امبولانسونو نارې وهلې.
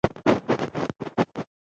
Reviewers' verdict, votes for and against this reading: rejected, 0, 2